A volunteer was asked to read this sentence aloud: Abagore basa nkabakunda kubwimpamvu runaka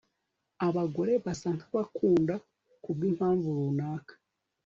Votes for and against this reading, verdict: 2, 0, accepted